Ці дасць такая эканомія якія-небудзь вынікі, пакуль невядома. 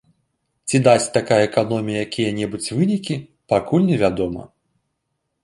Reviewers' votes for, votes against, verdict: 2, 0, accepted